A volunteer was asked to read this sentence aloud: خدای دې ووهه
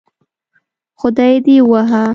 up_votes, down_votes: 1, 2